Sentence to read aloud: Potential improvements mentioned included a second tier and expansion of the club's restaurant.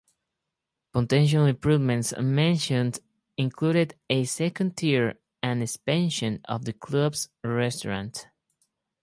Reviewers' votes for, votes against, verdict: 0, 2, rejected